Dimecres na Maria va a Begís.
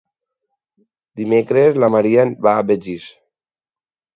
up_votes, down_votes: 4, 0